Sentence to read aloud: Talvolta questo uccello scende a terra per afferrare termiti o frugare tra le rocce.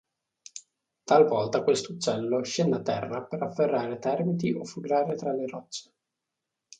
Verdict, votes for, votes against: accepted, 2, 0